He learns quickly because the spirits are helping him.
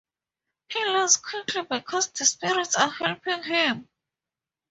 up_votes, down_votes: 2, 0